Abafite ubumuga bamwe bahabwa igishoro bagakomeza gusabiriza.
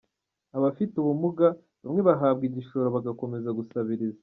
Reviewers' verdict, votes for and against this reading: accepted, 2, 0